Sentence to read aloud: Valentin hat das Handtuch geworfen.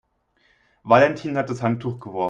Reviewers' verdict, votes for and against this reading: rejected, 1, 3